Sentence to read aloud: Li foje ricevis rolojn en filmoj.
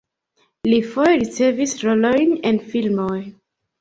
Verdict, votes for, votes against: accepted, 2, 0